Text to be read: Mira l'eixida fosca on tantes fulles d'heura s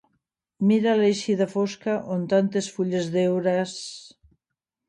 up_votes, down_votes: 1, 2